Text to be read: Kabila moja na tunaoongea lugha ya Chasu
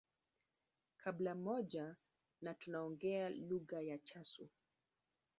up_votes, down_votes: 1, 2